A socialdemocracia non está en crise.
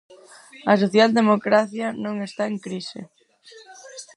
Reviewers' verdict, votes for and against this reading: rejected, 2, 4